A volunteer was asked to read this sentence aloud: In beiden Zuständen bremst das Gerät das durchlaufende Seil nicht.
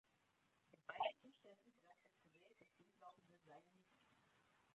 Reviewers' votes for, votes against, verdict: 0, 3, rejected